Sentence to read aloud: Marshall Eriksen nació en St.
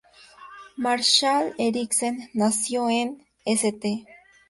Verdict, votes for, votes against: rejected, 0, 2